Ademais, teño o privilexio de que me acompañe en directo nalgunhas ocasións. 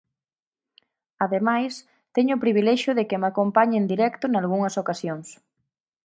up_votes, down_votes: 4, 0